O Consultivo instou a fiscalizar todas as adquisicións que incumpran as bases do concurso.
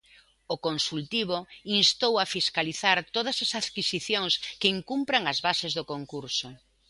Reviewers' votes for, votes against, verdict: 2, 0, accepted